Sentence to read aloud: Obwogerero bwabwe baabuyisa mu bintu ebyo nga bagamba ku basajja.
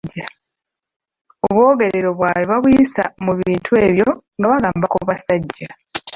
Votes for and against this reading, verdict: 1, 2, rejected